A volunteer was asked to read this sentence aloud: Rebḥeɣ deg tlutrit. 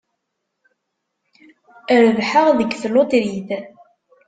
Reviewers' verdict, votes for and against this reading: accepted, 2, 0